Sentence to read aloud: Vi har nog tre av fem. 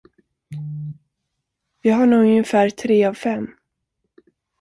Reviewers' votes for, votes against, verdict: 0, 2, rejected